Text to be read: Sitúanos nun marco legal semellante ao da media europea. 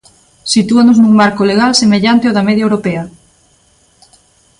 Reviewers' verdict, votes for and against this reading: accepted, 2, 0